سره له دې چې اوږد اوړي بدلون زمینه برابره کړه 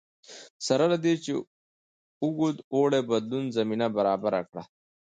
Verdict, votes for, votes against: accepted, 2, 0